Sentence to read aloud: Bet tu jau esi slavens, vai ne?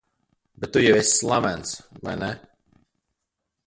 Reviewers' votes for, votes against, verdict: 0, 2, rejected